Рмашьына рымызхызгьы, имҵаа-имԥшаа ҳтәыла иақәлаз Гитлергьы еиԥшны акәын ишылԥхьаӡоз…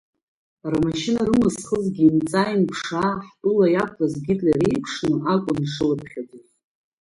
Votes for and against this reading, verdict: 0, 2, rejected